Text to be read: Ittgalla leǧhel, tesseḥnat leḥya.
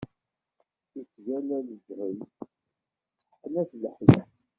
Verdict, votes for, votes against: rejected, 0, 2